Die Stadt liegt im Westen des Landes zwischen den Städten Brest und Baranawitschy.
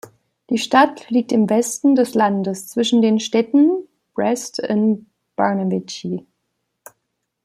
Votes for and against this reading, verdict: 1, 2, rejected